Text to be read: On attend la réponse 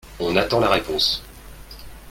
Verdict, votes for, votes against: accepted, 4, 0